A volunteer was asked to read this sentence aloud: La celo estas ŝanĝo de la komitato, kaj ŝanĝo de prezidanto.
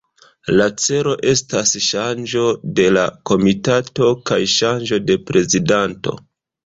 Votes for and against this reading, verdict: 2, 0, accepted